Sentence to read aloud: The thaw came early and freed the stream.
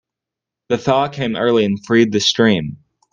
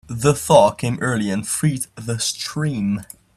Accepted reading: first